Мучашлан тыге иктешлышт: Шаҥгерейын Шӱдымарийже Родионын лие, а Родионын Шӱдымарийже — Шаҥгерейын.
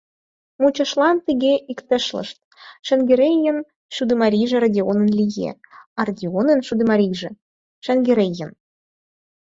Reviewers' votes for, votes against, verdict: 4, 2, accepted